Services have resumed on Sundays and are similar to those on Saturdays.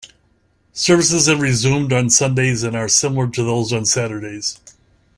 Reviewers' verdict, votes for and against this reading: accepted, 2, 0